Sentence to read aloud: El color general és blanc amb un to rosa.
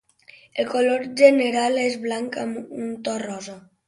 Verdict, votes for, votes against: accepted, 2, 0